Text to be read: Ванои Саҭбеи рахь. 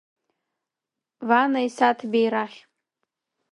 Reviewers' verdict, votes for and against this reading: rejected, 1, 2